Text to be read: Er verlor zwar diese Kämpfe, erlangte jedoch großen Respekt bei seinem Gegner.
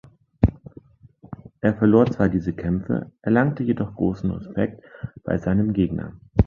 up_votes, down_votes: 2, 0